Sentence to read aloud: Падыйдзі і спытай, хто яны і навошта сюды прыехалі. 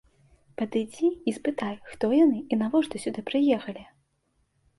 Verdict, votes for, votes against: accepted, 2, 0